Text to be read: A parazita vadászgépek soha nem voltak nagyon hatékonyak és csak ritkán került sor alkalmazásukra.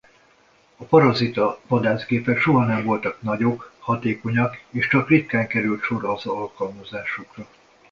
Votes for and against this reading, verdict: 1, 2, rejected